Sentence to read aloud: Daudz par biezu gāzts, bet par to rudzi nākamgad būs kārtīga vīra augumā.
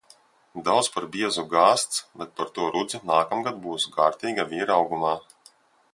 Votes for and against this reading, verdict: 2, 0, accepted